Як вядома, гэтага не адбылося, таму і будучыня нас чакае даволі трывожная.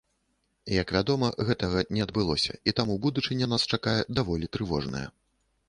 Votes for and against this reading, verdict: 0, 2, rejected